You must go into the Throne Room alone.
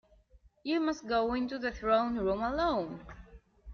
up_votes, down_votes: 0, 2